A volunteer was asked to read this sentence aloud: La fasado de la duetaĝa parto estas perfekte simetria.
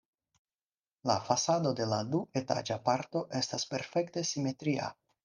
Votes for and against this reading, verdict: 4, 0, accepted